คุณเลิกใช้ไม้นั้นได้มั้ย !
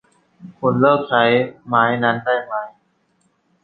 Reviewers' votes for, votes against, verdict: 2, 0, accepted